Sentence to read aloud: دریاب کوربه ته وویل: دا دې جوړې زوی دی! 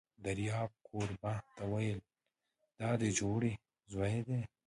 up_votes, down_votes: 1, 2